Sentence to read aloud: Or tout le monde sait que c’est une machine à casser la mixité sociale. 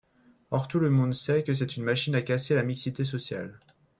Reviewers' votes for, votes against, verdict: 0, 3, rejected